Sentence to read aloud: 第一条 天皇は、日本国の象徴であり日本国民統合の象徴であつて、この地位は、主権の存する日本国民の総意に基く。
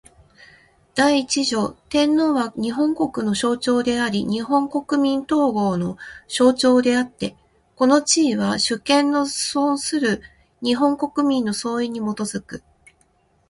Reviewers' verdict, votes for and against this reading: rejected, 1, 2